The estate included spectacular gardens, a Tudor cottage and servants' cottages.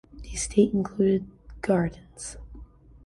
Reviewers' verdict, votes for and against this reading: rejected, 0, 2